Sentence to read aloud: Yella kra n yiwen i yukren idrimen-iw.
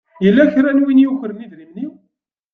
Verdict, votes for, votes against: rejected, 1, 2